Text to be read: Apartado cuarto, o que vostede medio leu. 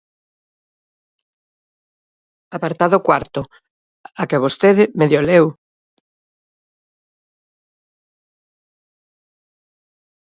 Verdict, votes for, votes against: rejected, 0, 2